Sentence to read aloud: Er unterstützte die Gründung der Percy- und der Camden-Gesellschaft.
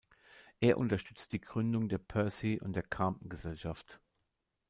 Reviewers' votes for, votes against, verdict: 0, 2, rejected